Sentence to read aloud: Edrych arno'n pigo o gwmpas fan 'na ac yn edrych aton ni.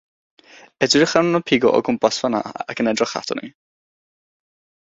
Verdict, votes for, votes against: rejected, 3, 3